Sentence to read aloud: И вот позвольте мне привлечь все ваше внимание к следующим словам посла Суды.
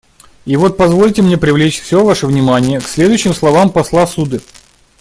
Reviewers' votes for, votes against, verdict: 2, 0, accepted